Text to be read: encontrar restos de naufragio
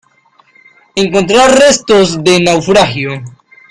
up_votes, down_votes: 2, 0